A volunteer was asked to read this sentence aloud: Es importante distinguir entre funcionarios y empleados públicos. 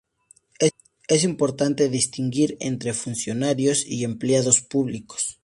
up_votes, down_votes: 4, 0